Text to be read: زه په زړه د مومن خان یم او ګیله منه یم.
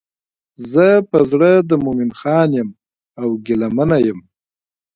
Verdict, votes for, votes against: accepted, 2, 0